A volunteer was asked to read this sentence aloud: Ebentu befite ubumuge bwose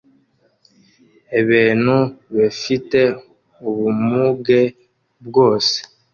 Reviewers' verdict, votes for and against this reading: rejected, 0, 2